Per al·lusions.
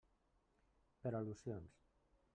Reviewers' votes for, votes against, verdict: 0, 2, rejected